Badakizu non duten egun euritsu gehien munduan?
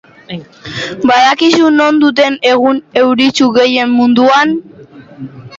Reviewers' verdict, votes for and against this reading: rejected, 1, 3